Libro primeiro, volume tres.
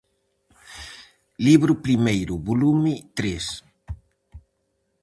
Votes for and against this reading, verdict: 4, 0, accepted